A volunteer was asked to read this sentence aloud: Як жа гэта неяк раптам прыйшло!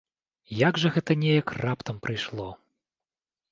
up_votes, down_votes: 2, 0